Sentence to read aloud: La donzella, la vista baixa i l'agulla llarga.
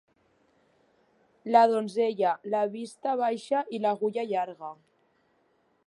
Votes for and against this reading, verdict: 2, 0, accepted